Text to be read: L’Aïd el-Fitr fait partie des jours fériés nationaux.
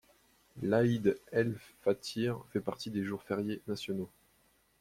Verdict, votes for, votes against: rejected, 1, 2